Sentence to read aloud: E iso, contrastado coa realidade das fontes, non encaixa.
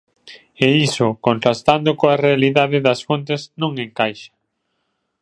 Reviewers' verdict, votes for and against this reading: rejected, 0, 2